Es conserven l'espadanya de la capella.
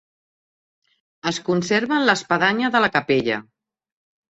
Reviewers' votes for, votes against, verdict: 2, 1, accepted